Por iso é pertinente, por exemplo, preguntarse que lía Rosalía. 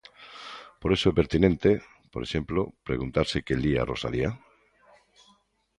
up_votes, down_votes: 2, 0